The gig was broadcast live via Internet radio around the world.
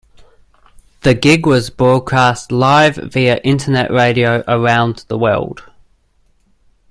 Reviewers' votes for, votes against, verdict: 2, 0, accepted